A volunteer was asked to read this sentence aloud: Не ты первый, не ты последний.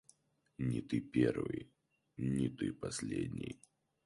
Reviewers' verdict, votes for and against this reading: accepted, 4, 0